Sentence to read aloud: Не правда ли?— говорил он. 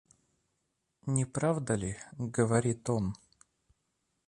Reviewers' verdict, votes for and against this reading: rejected, 0, 2